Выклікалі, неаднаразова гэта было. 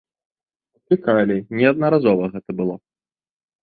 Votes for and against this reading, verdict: 0, 2, rejected